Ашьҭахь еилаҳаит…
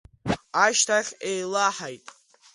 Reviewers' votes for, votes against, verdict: 2, 0, accepted